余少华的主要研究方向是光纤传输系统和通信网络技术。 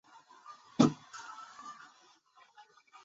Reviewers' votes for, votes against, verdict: 2, 1, accepted